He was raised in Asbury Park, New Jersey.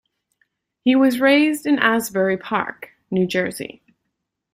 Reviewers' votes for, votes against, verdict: 2, 0, accepted